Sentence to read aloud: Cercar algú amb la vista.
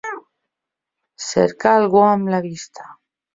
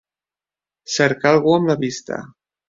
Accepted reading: second